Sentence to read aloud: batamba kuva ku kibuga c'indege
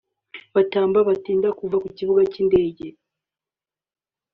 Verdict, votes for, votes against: rejected, 0, 2